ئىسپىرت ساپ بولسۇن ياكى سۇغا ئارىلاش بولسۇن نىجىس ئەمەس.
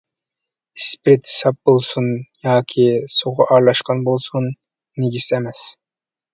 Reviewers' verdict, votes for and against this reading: rejected, 1, 2